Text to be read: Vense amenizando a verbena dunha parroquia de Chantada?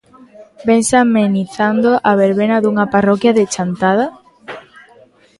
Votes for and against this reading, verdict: 2, 0, accepted